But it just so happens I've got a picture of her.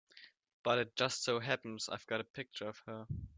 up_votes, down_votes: 2, 0